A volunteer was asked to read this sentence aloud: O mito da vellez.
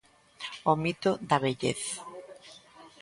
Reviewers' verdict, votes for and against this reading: accepted, 2, 0